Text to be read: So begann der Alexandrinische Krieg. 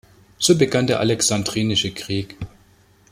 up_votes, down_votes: 2, 0